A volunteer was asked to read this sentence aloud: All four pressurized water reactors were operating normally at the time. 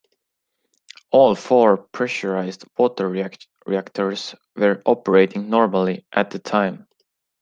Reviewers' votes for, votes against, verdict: 1, 2, rejected